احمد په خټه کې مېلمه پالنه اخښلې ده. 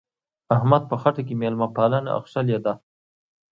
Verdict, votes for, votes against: accepted, 2, 0